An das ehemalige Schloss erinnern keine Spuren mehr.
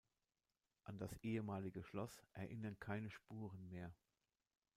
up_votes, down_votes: 1, 2